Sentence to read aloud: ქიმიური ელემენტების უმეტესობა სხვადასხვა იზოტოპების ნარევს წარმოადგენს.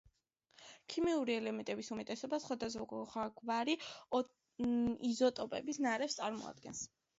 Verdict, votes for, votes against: rejected, 0, 2